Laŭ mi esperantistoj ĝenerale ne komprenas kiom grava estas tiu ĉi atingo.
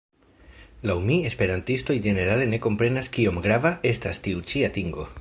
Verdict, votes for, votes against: accepted, 2, 0